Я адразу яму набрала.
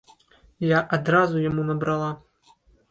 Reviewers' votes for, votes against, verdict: 1, 2, rejected